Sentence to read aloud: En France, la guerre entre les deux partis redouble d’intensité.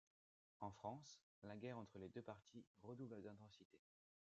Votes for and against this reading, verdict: 2, 0, accepted